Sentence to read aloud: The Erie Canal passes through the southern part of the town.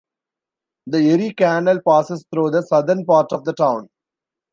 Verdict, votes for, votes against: accepted, 2, 0